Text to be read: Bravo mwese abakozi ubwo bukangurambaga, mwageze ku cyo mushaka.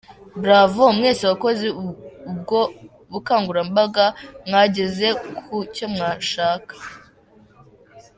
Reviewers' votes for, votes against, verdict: 4, 3, accepted